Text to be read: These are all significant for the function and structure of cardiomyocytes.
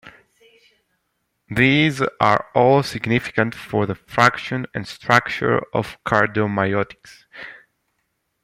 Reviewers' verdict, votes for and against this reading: rejected, 1, 2